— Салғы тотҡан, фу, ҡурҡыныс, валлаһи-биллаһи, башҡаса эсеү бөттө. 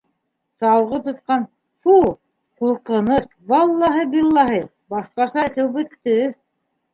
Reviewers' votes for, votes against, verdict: 2, 1, accepted